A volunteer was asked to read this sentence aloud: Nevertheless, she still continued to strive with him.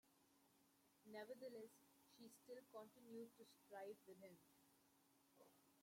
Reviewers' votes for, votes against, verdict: 0, 2, rejected